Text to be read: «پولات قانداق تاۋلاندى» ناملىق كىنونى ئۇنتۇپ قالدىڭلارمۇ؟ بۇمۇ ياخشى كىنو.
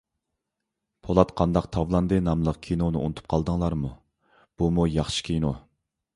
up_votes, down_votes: 2, 1